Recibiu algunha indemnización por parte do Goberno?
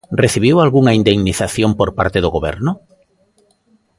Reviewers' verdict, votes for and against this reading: accepted, 2, 0